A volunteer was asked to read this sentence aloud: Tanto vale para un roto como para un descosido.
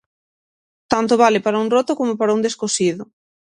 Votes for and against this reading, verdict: 6, 0, accepted